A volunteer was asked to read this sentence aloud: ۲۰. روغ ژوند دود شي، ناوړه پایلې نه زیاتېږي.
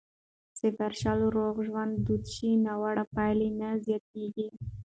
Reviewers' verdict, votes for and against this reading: rejected, 0, 2